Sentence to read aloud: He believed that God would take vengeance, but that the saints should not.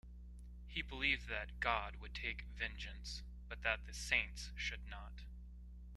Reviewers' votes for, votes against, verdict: 2, 0, accepted